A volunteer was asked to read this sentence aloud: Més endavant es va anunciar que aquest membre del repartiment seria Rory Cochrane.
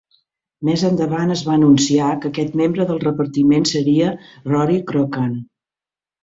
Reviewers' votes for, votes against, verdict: 0, 3, rejected